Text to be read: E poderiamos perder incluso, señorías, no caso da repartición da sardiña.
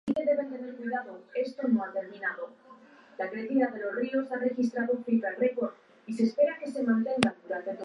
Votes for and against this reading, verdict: 0, 2, rejected